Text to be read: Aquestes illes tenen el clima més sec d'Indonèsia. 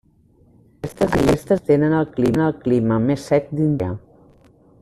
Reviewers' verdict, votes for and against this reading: rejected, 0, 2